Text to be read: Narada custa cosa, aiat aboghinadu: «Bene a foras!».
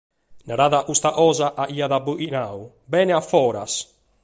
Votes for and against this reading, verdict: 2, 0, accepted